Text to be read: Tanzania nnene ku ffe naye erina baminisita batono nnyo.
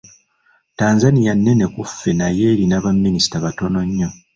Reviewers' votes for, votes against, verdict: 2, 0, accepted